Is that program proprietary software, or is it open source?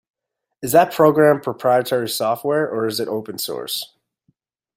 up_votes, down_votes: 2, 0